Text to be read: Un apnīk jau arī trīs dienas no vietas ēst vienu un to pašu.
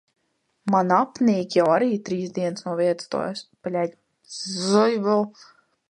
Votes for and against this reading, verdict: 0, 2, rejected